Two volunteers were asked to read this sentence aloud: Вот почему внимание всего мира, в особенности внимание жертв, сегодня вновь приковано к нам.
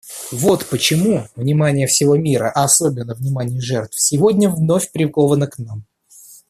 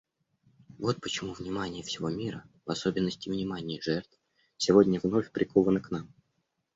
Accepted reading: second